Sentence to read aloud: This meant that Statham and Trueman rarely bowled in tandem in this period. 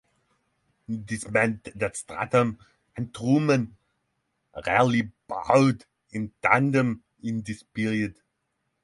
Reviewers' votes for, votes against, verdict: 0, 6, rejected